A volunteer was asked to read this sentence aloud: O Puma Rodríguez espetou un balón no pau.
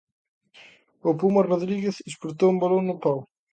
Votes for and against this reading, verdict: 0, 2, rejected